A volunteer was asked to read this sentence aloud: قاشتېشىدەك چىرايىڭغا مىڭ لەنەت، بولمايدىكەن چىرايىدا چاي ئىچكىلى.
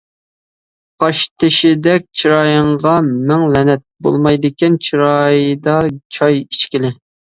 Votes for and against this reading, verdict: 1, 2, rejected